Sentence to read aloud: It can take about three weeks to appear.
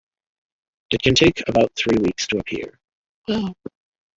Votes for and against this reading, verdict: 1, 2, rejected